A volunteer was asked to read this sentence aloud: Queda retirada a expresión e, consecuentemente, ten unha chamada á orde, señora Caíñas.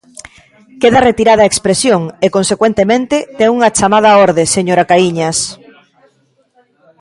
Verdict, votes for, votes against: accepted, 2, 0